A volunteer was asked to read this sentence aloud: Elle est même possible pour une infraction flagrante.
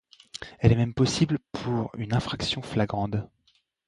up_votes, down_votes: 1, 2